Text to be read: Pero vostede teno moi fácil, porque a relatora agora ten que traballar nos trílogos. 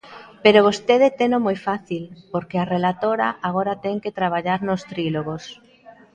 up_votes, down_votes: 1, 2